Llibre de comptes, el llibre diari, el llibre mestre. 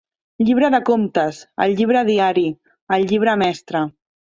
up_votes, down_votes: 3, 0